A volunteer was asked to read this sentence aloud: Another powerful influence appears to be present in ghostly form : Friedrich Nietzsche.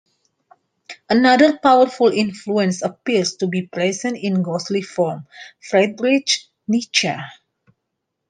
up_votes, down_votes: 2, 0